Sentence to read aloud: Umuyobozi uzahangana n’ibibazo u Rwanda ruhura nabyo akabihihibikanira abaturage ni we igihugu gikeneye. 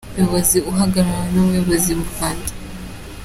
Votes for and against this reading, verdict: 0, 2, rejected